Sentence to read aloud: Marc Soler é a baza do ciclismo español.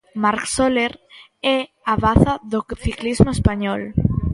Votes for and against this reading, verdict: 0, 2, rejected